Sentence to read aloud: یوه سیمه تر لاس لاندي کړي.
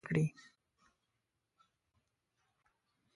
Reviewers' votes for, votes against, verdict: 0, 2, rejected